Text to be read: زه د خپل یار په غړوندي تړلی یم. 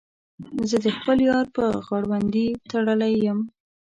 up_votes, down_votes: 1, 2